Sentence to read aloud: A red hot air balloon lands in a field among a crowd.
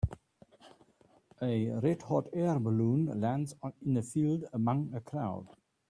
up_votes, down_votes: 0, 2